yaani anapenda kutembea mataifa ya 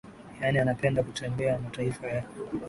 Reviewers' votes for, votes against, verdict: 2, 1, accepted